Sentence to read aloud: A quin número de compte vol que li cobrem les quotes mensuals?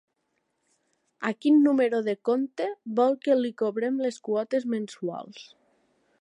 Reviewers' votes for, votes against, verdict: 3, 0, accepted